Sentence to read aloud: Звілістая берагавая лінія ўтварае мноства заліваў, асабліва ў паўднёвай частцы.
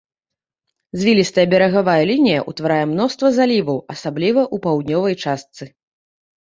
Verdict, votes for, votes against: accepted, 2, 1